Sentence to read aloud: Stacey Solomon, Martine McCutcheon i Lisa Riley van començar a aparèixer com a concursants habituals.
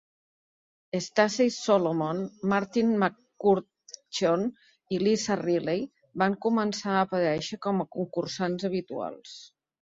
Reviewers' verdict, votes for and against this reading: accepted, 2, 1